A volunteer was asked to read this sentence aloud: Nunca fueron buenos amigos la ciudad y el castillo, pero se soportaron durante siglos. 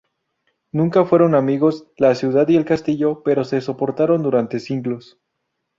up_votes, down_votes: 0, 2